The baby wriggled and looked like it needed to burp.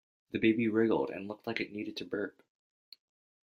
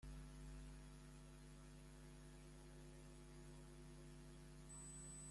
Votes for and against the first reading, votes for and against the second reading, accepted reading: 2, 0, 0, 2, first